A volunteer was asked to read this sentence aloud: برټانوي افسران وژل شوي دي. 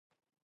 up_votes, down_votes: 0, 2